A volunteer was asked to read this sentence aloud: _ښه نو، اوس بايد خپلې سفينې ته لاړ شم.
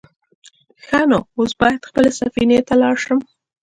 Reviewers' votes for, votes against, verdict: 3, 0, accepted